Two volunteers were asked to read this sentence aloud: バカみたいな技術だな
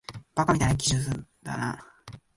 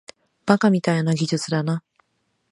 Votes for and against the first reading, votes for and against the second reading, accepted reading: 1, 3, 2, 0, second